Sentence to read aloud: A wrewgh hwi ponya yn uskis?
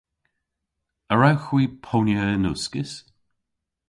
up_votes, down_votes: 2, 0